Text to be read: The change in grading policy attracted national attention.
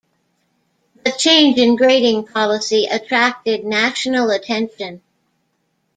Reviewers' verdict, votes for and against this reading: accepted, 2, 0